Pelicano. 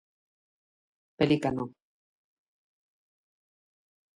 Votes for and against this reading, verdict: 0, 2, rejected